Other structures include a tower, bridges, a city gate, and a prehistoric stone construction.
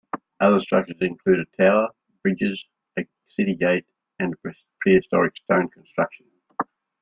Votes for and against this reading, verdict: 2, 1, accepted